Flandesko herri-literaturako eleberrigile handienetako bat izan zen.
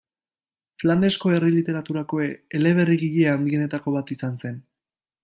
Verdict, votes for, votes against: accepted, 2, 0